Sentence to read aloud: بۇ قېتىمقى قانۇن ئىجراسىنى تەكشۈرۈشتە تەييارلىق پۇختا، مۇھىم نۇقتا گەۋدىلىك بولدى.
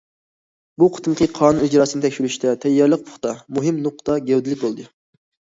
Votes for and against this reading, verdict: 2, 0, accepted